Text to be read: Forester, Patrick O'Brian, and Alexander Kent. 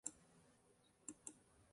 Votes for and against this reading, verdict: 0, 2, rejected